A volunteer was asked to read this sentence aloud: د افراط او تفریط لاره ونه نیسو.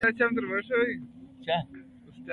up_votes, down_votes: 0, 2